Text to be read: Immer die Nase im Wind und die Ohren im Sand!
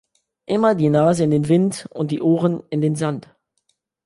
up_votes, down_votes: 0, 2